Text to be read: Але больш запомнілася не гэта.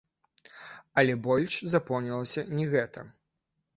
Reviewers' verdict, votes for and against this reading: rejected, 0, 3